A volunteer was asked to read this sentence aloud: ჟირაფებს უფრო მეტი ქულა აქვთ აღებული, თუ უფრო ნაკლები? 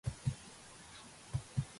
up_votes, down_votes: 0, 2